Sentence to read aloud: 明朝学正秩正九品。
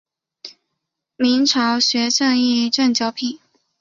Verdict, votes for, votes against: rejected, 1, 2